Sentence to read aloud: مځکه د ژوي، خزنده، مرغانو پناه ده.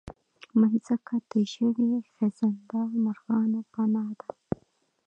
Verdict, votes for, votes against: rejected, 0, 2